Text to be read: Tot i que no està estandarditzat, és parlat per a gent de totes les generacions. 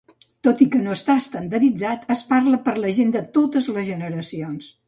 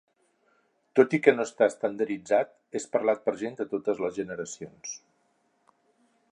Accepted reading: second